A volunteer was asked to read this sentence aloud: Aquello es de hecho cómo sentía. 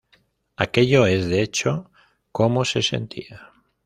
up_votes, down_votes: 1, 2